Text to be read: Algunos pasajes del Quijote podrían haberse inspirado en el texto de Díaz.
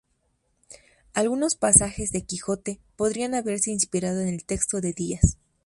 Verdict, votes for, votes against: rejected, 0, 2